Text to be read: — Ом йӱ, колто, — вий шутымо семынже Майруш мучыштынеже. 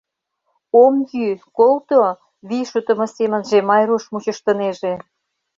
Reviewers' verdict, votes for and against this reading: accepted, 2, 0